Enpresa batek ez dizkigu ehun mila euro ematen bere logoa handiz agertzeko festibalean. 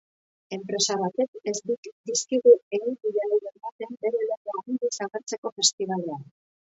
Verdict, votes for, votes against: rejected, 0, 5